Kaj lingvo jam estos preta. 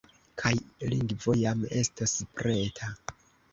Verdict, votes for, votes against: rejected, 1, 2